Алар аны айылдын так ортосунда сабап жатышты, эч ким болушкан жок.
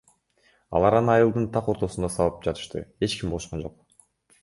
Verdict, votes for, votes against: rejected, 2, 3